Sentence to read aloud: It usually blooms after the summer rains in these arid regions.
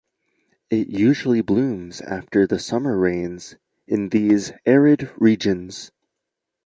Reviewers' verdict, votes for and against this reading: accepted, 2, 0